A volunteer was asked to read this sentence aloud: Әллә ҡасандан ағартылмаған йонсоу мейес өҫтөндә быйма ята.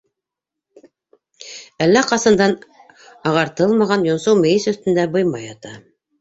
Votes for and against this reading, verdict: 2, 1, accepted